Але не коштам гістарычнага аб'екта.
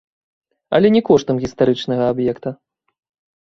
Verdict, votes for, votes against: rejected, 1, 2